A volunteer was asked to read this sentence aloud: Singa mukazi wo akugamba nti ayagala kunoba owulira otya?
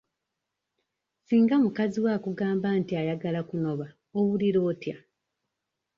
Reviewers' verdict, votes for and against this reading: accepted, 2, 0